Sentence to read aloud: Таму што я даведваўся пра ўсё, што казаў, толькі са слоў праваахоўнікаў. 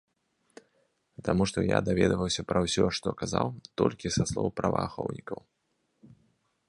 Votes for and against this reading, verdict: 2, 0, accepted